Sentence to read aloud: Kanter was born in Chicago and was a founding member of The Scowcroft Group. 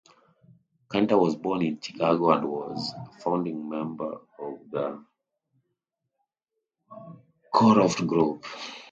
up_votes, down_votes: 0, 2